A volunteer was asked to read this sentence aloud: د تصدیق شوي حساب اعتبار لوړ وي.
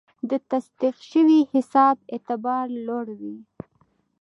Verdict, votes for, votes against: accepted, 2, 0